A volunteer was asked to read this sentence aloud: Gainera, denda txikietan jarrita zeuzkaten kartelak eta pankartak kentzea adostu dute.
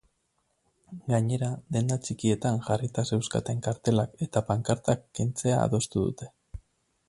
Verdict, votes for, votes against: accepted, 6, 0